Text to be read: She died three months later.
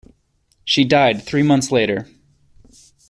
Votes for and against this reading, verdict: 2, 0, accepted